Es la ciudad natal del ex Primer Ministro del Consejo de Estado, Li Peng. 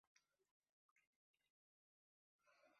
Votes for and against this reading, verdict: 0, 2, rejected